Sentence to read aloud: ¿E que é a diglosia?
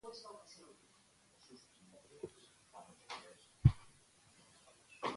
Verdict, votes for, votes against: rejected, 0, 2